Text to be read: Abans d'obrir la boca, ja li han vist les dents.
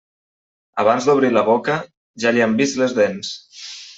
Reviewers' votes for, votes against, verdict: 3, 1, accepted